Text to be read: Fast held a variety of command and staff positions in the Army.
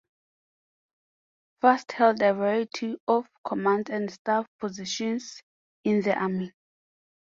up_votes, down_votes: 4, 0